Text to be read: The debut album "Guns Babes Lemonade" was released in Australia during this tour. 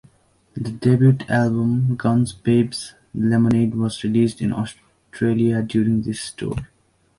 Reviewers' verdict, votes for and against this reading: accepted, 3, 0